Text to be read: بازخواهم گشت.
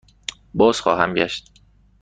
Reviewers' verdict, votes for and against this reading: accepted, 2, 0